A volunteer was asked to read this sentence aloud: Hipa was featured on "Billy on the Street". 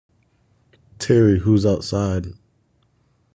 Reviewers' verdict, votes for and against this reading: rejected, 1, 2